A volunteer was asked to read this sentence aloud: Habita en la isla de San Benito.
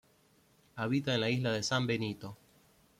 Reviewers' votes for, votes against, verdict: 2, 0, accepted